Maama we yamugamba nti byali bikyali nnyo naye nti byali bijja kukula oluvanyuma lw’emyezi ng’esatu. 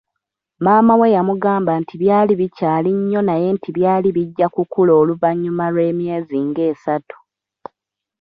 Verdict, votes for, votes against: accepted, 2, 0